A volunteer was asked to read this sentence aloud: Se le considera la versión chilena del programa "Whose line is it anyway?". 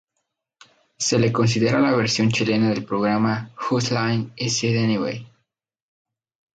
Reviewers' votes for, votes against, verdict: 0, 2, rejected